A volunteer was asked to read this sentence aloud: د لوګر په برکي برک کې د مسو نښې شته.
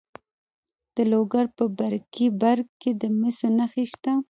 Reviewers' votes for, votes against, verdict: 1, 2, rejected